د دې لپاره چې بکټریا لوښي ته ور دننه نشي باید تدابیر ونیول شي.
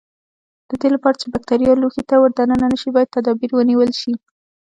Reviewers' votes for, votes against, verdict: 0, 2, rejected